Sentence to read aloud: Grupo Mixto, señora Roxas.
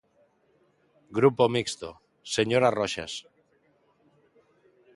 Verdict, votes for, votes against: accepted, 2, 0